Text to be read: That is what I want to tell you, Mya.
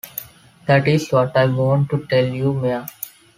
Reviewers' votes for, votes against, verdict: 2, 1, accepted